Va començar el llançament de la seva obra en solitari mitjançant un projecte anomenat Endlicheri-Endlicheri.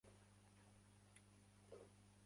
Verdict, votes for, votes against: rejected, 0, 2